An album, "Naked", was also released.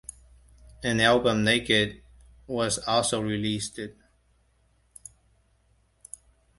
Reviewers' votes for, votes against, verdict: 2, 0, accepted